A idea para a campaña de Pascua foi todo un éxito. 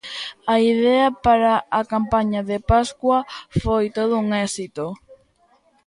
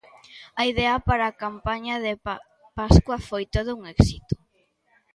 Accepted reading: first